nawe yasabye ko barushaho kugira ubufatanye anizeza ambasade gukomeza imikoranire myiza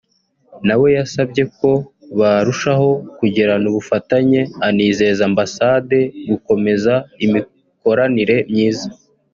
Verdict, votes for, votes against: rejected, 0, 2